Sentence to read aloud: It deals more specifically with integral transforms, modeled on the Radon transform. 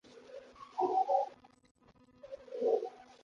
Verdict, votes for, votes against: rejected, 0, 2